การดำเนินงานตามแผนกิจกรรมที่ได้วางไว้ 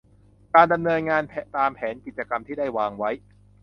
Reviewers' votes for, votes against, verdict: 1, 2, rejected